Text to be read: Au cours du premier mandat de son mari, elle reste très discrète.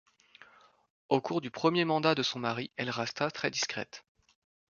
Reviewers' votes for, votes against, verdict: 1, 2, rejected